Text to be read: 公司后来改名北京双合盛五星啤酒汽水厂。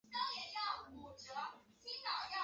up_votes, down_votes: 3, 4